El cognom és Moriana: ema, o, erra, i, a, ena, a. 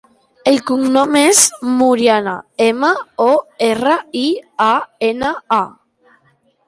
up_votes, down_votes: 2, 0